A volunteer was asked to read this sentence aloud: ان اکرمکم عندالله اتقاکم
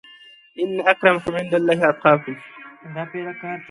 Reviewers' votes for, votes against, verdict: 2, 1, accepted